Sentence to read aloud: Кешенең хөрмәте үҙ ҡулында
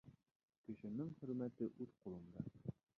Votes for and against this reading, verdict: 0, 2, rejected